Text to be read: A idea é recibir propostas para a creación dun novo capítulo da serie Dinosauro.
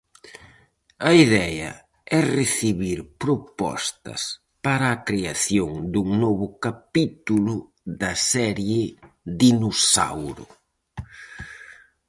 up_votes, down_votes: 2, 2